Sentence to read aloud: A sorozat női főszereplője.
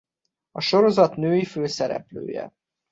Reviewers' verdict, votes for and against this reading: accepted, 2, 0